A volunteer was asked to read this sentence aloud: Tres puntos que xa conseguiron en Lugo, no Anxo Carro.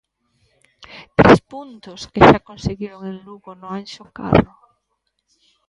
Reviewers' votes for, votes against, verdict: 0, 2, rejected